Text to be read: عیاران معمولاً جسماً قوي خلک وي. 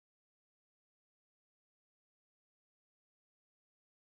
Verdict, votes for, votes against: rejected, 0, 2